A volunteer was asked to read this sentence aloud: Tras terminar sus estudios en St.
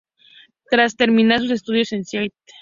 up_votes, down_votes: 0, 2